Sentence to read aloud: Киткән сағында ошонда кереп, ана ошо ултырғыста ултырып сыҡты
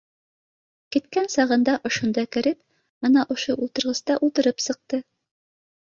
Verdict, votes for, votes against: accepted, 2, 0